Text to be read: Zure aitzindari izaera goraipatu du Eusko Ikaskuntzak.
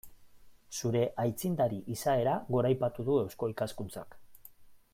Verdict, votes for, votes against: accepted, 2, 0